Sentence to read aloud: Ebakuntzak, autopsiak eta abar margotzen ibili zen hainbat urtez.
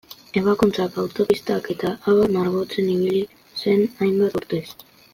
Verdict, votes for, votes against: rejected, 1, 2